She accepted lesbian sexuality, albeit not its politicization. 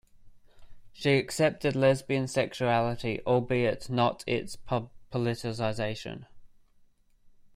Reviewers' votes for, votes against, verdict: 0, 2, rejected